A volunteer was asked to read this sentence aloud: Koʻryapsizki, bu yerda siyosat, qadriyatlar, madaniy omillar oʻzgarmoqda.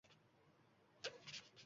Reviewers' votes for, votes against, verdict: 1, 2, rejected